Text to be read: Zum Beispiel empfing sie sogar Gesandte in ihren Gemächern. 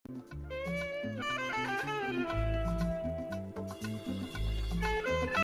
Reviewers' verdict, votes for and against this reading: rejected, 0, 2